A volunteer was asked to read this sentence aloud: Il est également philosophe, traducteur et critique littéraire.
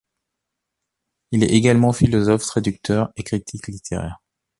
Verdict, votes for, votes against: accepted, 2, 0